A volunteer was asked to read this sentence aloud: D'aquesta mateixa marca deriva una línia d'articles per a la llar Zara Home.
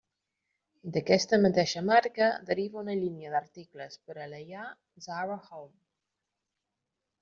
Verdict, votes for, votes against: accepted, 2, 1